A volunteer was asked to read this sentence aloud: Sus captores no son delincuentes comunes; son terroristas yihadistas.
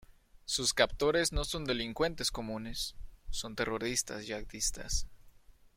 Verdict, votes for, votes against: rejected, 0, 2